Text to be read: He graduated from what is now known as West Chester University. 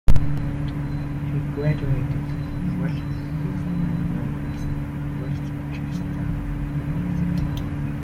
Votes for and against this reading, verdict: 0, 2, rejected